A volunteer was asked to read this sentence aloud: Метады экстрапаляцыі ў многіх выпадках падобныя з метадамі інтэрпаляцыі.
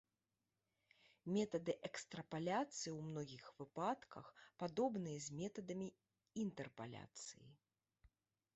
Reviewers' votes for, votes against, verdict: 1, 2, rejected